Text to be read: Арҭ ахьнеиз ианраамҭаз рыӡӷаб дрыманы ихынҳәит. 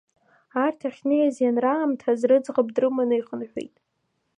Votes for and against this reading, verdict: 2, 0, accepted